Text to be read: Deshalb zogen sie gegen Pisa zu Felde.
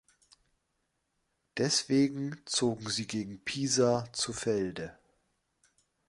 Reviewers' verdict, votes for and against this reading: rejected, 1, 2